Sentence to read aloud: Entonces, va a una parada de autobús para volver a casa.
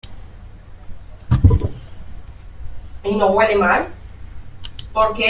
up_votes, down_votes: 0, 2